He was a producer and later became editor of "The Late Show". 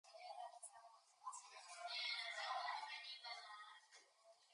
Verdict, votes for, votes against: rejected, 0, 2